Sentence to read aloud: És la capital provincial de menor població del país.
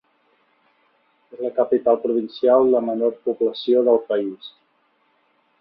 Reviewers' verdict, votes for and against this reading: accepted, 2, 1